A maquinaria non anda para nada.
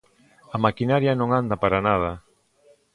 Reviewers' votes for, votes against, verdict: 2, 0, accepted